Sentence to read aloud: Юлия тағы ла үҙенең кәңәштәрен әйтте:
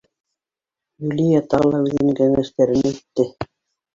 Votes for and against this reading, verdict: 1, 2, rejected